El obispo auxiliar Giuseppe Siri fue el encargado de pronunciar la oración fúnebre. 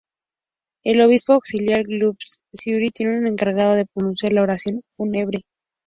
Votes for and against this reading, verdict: 0, 2, rejected